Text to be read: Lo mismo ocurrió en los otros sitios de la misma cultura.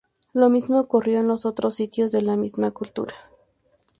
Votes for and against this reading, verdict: 2, 0, accepted